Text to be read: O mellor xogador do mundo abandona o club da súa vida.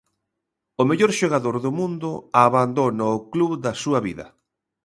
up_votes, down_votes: 2, 0